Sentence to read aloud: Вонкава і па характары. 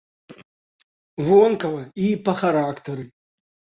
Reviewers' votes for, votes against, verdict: 2, 0, accepted